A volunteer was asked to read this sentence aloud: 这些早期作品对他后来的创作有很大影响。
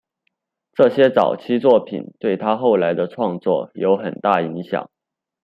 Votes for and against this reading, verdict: 2, 0, accepted